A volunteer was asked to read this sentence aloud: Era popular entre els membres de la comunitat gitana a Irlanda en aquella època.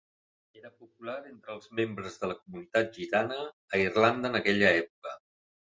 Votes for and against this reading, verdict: 1, 2, rejected